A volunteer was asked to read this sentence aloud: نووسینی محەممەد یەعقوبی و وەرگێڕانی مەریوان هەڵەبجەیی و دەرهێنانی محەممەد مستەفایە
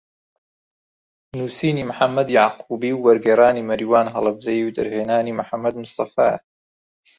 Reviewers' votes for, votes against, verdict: 2, 0, accepted